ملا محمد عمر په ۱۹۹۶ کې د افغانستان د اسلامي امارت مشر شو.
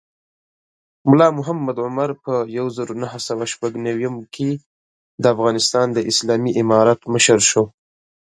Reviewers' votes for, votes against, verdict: 0, 2, rejected